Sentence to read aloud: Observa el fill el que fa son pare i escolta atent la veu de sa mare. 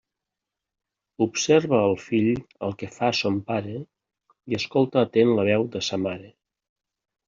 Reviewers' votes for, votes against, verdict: 2, 0, accepted